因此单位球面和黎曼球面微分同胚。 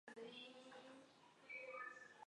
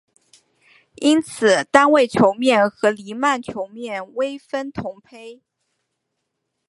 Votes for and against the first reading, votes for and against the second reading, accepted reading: 1, 2, 6, 0, second